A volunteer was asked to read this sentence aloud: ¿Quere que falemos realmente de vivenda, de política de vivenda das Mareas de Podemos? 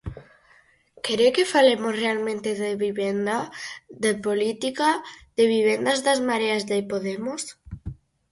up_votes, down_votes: 2, 2